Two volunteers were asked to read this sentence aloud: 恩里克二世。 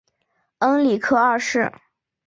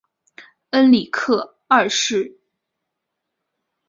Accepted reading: second